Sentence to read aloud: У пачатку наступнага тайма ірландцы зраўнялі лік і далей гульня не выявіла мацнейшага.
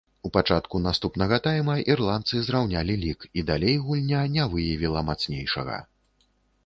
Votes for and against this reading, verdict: 2, 0, accepted